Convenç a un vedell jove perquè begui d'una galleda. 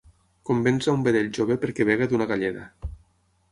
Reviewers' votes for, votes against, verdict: 6, 3, accepted